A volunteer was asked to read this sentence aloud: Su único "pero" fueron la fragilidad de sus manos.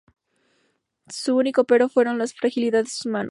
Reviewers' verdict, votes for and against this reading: rejected, 0, 2